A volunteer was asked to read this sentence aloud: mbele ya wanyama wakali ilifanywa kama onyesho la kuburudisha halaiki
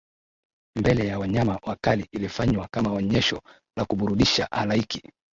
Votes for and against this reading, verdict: 0, 2, rejected